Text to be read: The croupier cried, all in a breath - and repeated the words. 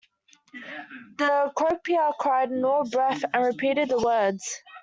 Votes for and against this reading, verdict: 2, 1, accepted